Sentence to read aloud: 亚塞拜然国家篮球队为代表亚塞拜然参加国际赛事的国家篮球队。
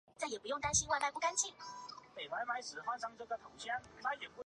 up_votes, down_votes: 0, 3